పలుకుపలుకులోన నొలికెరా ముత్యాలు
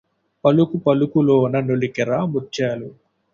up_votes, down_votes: 2, 0